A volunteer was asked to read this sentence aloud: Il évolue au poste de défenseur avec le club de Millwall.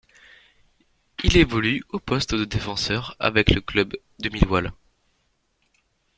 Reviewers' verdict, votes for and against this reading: accepted, 3, 2